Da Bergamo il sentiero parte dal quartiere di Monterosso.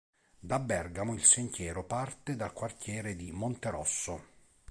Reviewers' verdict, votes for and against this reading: accepted, 4, 0